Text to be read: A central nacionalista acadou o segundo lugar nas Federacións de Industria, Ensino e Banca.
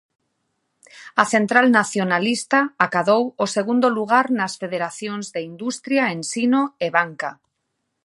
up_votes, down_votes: 3, 0